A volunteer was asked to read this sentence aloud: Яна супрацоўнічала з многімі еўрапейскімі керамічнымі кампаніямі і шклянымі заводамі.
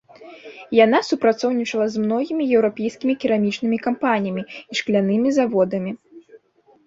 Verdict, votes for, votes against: rejected, 1, 3